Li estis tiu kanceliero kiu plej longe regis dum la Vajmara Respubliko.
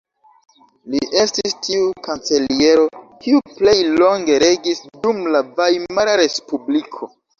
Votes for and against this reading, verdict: 2, 0, accepted